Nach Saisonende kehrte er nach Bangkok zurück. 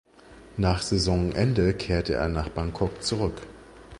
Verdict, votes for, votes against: accepted, 3, 0